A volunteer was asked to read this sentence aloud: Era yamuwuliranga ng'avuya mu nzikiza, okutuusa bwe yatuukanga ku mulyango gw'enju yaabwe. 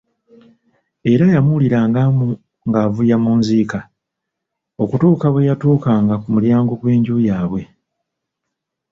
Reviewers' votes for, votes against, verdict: 1, 2, rejected